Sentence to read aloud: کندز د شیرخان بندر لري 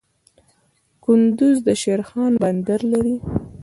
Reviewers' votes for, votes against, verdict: 2, 0, accepted